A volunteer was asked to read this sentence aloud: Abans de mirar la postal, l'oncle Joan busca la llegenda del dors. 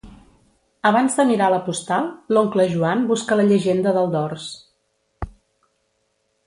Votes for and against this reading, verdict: 2, 0, accepted